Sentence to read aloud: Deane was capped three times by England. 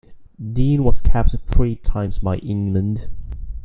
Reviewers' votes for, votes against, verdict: 2, 0, accepted